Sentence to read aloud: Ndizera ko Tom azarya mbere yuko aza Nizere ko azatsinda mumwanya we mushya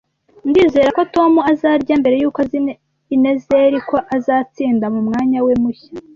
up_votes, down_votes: 1, 2